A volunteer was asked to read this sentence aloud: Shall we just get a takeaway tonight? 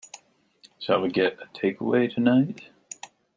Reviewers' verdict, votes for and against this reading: rejected, 0, 2